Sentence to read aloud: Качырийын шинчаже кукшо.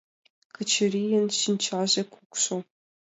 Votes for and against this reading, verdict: 2, 0, accepted